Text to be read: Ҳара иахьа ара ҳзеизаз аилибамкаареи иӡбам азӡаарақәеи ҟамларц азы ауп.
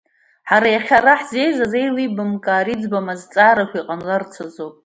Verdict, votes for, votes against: accepted, 2, 0